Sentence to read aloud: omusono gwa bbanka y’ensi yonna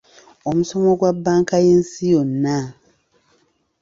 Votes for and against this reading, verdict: 1, 2, rejected